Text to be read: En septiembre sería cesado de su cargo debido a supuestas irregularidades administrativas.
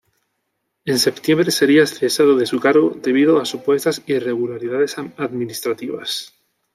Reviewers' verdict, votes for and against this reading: rejected, 1, 2